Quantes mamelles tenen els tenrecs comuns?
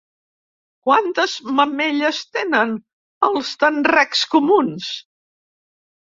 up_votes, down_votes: 2, 0